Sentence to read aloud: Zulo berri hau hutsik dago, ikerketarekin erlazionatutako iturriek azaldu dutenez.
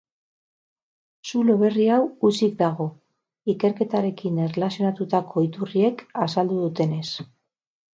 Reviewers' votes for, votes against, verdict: 6, 0, accepted